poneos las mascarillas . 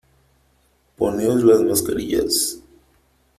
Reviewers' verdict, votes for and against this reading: accepted, 3, 0